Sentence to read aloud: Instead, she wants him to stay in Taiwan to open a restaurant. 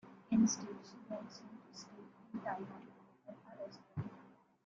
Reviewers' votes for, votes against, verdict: 0, 2, rejected